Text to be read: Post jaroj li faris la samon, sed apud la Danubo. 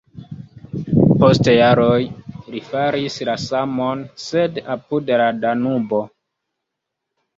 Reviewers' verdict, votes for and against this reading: accepted, 2, 0